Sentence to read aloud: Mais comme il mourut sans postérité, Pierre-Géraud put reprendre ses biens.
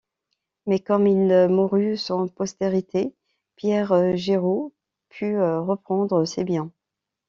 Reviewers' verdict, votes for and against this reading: rejected, 2, 3